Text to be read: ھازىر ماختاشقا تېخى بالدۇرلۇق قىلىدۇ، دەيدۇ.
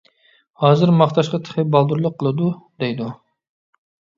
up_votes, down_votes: 2, 0